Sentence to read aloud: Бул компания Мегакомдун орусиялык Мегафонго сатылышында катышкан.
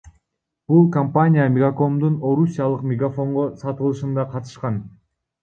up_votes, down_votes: 2, 1